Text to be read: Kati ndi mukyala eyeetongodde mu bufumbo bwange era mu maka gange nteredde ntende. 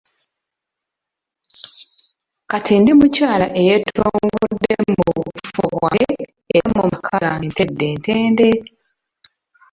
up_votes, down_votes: 0, 2